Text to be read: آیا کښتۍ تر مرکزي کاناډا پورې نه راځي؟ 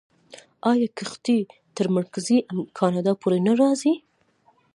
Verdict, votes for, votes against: accepted, 2, 1